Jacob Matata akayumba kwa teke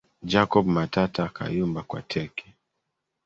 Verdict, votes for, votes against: rejected, 1, 2